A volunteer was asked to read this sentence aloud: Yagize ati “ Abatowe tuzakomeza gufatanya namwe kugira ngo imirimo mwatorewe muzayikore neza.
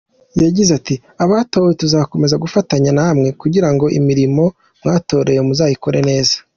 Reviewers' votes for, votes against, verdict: 2, 0, accepted